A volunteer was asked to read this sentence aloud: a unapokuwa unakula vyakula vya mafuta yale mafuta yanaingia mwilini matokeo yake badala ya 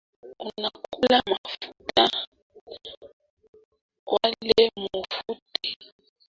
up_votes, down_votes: 0, 2